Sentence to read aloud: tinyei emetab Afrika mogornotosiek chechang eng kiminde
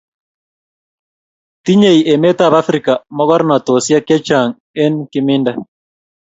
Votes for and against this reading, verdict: 2, 0, accepted